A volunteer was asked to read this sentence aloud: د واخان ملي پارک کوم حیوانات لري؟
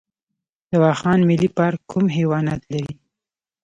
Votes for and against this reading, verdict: 2, 0, accepted